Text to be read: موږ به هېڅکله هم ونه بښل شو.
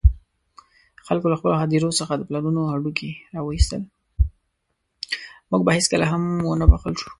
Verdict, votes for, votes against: rejected, 1, 2